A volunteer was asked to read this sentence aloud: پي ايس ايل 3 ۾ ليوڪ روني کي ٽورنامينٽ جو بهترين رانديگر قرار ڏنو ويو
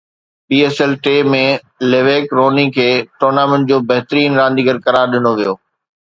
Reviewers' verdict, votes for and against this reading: rejected, 0, 2